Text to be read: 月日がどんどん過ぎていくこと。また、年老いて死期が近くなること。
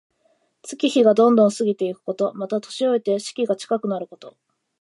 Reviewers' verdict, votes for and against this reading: accepted, 2, 1